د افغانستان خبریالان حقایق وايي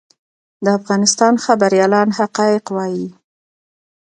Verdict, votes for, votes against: accepted, 2, 0